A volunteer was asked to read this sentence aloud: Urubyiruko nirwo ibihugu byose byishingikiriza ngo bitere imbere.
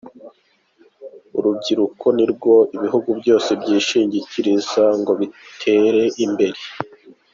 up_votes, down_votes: 2, 0